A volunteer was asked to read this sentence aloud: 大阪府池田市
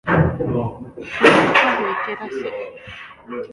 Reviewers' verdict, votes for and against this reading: rejected, 2, 3